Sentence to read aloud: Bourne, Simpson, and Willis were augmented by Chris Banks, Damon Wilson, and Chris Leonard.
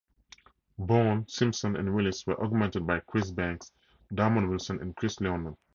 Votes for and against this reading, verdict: 4, 0, accepted